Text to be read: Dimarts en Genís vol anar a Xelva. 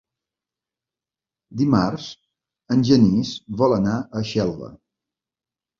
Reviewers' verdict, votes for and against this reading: accepted, 3, 0